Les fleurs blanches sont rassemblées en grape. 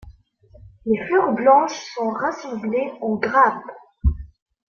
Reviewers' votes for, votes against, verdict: 1, 3, rejected